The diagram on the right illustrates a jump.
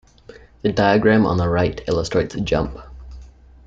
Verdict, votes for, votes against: accepted, 2, 1